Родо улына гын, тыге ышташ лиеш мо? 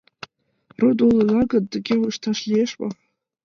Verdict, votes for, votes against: accepted, 2, 0